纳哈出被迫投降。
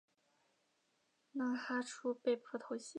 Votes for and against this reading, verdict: 3, 4, rejected